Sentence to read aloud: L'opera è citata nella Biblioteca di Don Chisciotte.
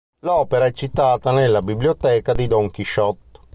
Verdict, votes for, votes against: rejected, 1, 2